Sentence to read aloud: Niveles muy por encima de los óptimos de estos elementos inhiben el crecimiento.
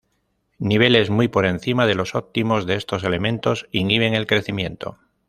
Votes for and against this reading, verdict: 2, 0, accepted